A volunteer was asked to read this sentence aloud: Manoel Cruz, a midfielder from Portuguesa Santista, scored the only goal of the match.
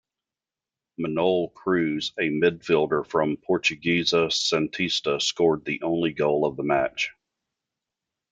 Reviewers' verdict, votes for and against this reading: accepted, 2, 1